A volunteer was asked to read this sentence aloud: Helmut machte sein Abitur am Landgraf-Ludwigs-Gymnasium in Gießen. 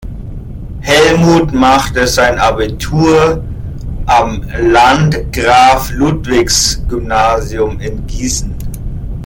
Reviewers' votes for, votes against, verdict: 1, 2, rejected